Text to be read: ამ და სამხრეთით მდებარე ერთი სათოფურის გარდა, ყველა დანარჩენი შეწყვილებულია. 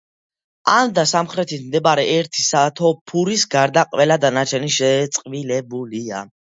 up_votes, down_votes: 2, 1